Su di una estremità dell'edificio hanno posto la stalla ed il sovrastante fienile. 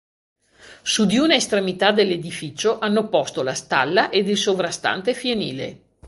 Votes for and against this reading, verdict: 2, 0, accepted